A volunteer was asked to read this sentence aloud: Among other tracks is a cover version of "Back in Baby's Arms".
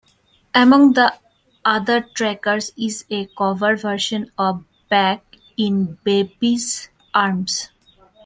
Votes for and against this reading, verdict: 0, 2, rejected